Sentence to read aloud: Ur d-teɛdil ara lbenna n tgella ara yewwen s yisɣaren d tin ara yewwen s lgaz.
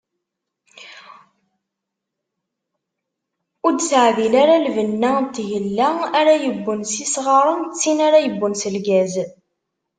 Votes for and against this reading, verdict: 2, 0, accepted